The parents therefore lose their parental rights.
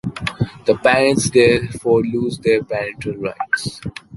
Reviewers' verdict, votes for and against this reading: accepted, 2, 1